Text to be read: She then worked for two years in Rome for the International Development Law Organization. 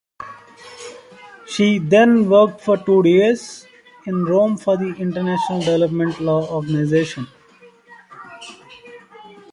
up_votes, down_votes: 1, 2